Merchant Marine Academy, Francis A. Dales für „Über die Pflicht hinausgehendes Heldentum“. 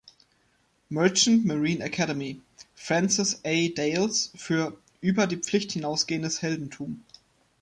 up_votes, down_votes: 2, 0